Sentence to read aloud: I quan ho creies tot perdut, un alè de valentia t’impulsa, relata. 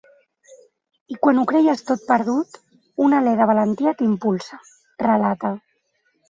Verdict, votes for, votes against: rejected, 1, 2